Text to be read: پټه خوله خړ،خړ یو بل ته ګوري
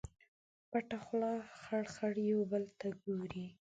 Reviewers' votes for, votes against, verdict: 2, 0, accepted